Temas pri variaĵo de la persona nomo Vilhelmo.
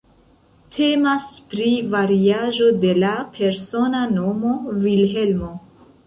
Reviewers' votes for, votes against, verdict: 2, 1, accepted